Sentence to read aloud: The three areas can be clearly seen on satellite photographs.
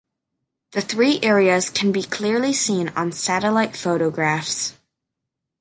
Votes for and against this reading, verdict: 2, 1, accepted